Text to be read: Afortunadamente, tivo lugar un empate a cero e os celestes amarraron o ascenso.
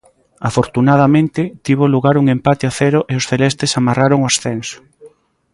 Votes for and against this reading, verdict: 2, 0, accepted